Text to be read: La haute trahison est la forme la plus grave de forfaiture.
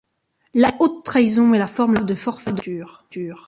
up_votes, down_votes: 0, 2